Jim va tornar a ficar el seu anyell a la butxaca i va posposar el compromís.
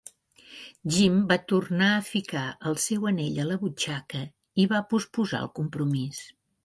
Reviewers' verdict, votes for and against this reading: rejected, 0, 2